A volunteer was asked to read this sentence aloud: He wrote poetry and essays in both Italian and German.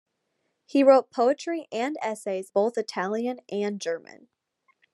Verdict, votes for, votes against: rejected, 0, 2